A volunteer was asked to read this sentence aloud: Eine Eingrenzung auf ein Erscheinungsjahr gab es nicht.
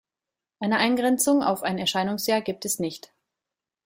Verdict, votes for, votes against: rejected, 0, 2